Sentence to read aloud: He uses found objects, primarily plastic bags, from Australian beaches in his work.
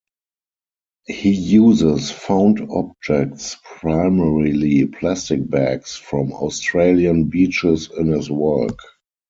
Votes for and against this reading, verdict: 2, 4, rejected